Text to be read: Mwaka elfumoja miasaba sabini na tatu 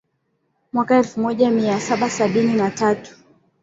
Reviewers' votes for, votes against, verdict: 10, 1, accepted